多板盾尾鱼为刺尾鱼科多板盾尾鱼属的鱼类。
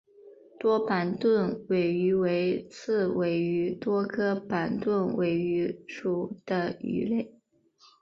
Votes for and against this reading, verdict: 1, 3, rejected